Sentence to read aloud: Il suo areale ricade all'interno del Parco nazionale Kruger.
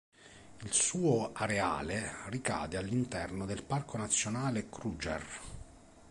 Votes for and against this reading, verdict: 1, 2, rejected